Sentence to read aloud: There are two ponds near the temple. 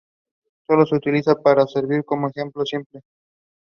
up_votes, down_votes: 0, 2